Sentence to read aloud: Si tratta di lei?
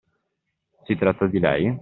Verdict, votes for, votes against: accepted, 2, 1